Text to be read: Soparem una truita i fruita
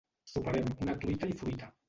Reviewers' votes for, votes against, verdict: 1, 2, rejected